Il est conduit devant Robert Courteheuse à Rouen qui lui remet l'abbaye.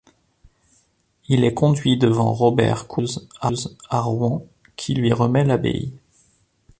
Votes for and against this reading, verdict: 1, 2, rejected